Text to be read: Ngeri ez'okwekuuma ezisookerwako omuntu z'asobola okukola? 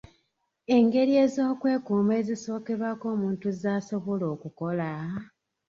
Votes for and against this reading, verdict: 0, 2, rejected